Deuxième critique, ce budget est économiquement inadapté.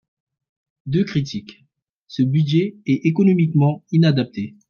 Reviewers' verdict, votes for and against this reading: rejected, 0, 2